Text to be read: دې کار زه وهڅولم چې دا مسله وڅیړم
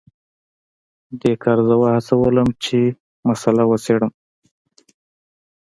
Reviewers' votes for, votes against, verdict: 2, 0, accepted